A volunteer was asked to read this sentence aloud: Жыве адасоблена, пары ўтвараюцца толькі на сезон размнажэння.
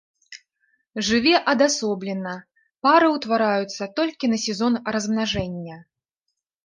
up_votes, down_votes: 2, 0